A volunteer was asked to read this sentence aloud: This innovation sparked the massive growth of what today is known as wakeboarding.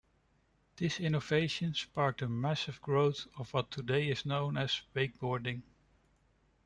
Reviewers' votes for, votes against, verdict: 2, 1, accepted